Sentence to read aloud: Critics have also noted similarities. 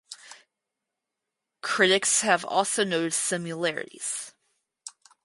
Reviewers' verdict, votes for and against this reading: rejected, 0, 4